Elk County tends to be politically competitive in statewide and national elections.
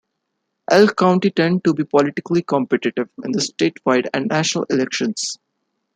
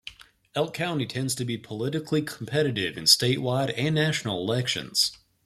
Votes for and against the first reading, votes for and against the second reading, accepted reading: 0, 2, 2, 0, second